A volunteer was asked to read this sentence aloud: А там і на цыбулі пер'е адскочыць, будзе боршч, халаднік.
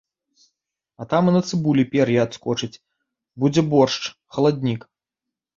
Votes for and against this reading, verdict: 3, 0, accepted